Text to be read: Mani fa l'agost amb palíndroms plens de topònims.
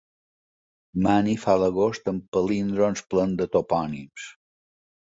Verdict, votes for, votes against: accepted, 4, 0